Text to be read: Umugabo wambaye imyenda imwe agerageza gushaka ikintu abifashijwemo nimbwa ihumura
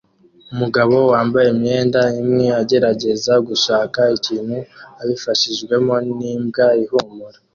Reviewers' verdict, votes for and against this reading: accepted, 2, 0